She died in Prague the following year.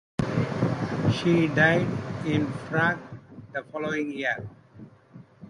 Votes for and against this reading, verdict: 0, 2, rejected